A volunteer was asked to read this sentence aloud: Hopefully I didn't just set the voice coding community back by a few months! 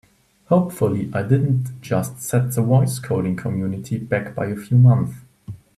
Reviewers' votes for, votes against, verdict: 1, 2, rejected